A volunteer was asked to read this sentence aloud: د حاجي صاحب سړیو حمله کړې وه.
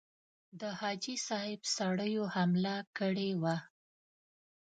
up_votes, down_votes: 2, 0